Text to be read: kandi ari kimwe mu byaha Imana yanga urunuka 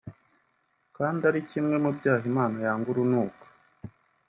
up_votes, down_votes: 2, 0